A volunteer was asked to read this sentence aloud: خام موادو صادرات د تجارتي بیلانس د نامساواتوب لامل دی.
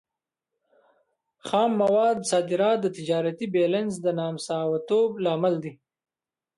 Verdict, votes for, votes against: rejected, 1, 2